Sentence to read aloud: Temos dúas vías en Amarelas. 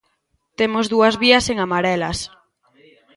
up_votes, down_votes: 2, 1